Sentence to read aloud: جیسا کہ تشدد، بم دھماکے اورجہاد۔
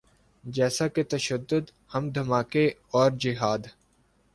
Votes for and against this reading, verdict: 2, 0, accepted